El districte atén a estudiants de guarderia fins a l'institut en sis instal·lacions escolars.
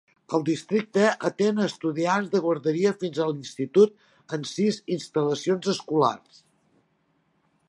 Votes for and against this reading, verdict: 2, 0, accepted